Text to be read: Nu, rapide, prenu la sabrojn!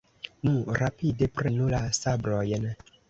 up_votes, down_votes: 2, 0